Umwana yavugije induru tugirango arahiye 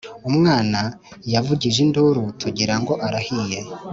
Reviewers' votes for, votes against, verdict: 2, 0, accepted